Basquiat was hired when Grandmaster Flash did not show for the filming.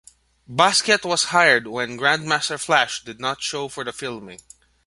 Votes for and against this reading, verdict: 2, 0, accepted